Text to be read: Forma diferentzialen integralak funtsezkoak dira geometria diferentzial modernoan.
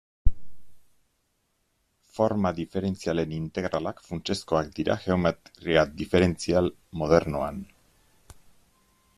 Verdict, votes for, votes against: accepted, 2, 0